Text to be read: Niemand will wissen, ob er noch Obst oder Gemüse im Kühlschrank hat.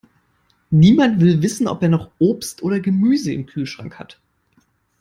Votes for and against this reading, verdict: 2, 0, accepted